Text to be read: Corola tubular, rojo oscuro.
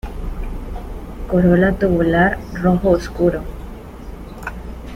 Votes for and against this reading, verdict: 2, 1, accepted